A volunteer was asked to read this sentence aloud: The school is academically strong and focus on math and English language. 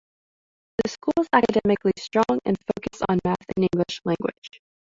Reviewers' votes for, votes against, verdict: 2, 0, accepted